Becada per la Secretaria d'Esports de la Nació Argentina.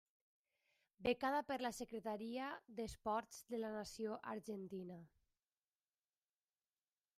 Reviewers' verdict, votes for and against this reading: rejected, 0, 2